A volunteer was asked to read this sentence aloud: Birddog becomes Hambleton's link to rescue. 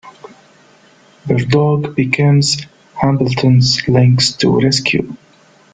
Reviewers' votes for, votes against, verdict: 1, 2, rejected